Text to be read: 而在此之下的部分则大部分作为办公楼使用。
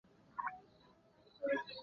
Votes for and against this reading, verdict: 1, 3, rejected